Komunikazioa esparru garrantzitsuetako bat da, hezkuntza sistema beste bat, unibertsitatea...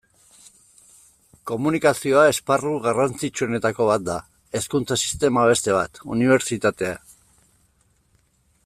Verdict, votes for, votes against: accepted, 2, 0